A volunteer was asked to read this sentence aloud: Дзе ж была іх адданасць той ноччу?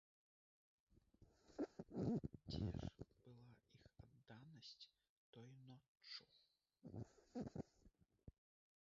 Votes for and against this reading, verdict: 0, 2, rejected